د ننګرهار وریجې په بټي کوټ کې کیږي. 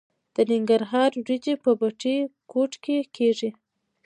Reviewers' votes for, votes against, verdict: 2, 0, accepted